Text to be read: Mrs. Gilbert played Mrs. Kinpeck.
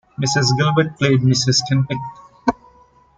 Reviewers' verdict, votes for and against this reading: accepted, 2, 0